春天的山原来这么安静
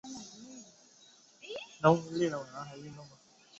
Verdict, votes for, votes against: accepted, 4, 0